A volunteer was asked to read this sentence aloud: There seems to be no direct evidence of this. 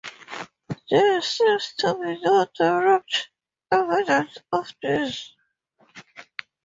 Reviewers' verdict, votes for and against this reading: accepted, 4, 0